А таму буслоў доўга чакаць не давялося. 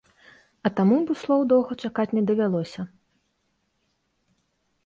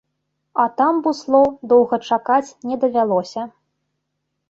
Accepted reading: first